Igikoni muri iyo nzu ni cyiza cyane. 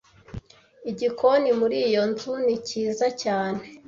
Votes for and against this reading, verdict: 2, 0, accepted